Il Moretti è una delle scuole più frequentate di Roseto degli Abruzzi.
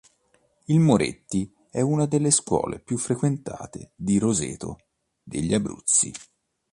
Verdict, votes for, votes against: accepted, 2, 0